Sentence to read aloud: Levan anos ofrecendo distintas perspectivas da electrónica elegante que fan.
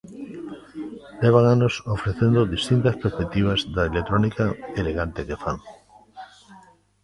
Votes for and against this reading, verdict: 0, 2, rejected